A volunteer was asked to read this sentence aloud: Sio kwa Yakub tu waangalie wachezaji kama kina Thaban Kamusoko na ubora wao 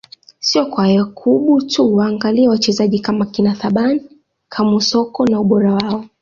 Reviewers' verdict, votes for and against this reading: accepted, 2, 0